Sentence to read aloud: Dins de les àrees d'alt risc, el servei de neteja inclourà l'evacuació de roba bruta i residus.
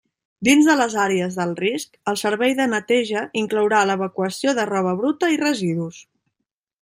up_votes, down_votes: 2, 0